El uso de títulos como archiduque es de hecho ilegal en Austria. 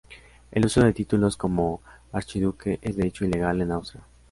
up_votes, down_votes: 2, 0